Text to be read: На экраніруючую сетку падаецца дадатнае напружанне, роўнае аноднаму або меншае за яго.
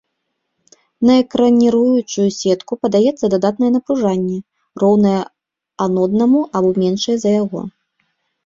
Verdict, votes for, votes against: rejected, 0, 2